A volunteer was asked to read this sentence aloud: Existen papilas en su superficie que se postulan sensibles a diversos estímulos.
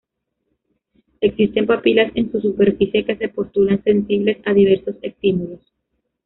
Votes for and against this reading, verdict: 0, 2, rejected